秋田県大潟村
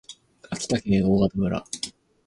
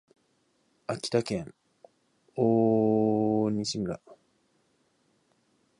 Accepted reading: first